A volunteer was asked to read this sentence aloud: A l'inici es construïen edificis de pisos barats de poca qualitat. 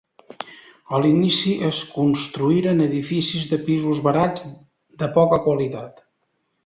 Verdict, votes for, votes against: accepted, 2, 1